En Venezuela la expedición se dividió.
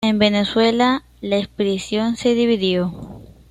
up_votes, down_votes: 2, 1